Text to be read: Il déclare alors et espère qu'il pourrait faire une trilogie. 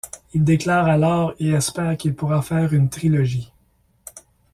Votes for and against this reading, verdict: 0, 2, rejected